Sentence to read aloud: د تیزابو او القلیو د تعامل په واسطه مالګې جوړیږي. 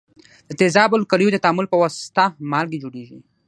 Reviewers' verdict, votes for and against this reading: accepted, 3, 0